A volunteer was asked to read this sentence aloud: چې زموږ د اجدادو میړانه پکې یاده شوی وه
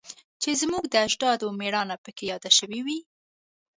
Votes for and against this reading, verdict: 1, 2, rejected